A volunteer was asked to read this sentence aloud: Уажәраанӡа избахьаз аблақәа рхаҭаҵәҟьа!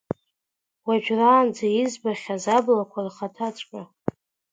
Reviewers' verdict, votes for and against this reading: accepted, 2, 0